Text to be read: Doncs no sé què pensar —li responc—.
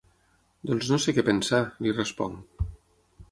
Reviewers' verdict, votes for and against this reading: accepted, 6, 0